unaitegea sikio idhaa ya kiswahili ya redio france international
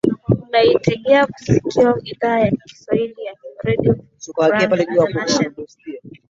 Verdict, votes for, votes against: accepted, 2, 0